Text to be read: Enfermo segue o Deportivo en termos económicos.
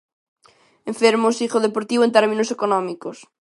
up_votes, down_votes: 0, 2